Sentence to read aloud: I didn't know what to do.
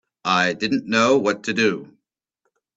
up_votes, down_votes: 2, 0